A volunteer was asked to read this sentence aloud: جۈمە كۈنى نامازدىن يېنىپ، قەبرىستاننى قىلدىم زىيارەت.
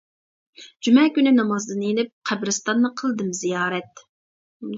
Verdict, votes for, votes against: accepted, 2, 0